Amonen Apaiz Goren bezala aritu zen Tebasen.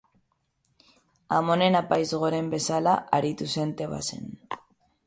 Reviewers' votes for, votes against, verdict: 3, 0, accepted